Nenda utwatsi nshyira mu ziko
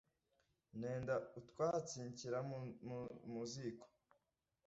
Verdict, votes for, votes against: rejected, 0, 2